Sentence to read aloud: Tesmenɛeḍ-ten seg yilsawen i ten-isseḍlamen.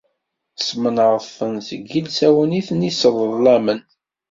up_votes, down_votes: 2, 0